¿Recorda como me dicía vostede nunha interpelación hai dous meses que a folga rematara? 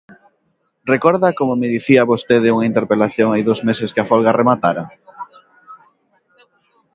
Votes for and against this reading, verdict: 1, 2, rejected